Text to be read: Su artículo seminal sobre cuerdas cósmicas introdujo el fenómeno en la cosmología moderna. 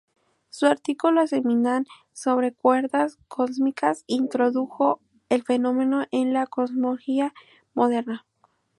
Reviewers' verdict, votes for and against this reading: rejected, 0, 2